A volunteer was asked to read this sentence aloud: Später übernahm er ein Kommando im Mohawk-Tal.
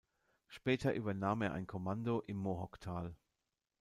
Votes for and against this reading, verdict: 2, 0, accepted